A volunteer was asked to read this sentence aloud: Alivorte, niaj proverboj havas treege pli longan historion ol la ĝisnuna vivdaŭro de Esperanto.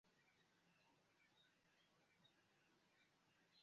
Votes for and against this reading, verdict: 0, 2, rejected